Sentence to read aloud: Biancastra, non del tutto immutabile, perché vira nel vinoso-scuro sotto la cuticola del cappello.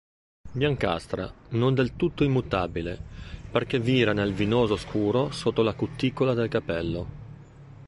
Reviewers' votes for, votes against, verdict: 1, 2, rejected